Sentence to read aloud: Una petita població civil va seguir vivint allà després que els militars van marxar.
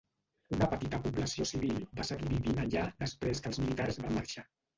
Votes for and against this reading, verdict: 1, 2, rejected